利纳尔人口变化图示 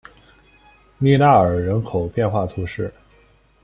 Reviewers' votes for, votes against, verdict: 1, 2, rejected